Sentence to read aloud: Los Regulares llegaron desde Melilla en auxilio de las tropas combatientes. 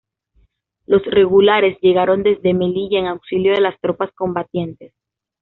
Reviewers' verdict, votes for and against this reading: accepted, 2, 0